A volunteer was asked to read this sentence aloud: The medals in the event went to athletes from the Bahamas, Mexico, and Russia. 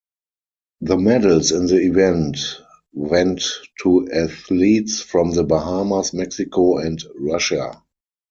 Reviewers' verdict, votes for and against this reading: accepted, 4, 2